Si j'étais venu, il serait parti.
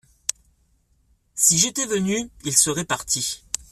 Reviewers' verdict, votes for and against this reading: accepted, 2, 0